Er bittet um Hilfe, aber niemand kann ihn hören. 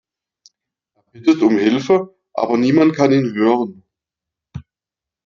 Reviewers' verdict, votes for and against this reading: accepted, 2, 0